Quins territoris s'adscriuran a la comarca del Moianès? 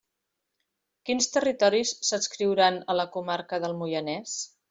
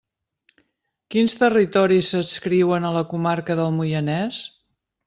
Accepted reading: first